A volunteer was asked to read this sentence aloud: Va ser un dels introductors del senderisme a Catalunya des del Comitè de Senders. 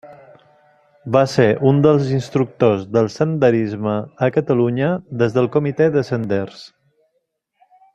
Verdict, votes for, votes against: rejected, 0, 2